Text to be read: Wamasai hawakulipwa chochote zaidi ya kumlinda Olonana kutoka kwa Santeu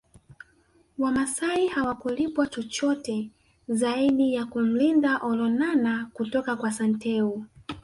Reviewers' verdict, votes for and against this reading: accepted, 2, 1